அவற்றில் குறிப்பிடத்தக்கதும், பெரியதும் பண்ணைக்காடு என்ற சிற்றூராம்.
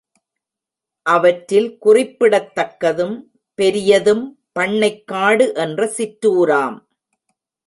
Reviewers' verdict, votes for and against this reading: accepted, 2, 0